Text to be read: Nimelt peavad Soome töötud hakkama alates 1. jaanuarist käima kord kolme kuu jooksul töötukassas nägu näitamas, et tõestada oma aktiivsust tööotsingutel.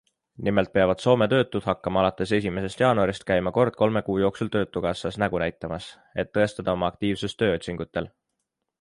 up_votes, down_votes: 0, 2